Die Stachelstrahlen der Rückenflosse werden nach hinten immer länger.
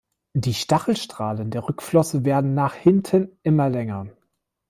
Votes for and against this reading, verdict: 0, 2, rejected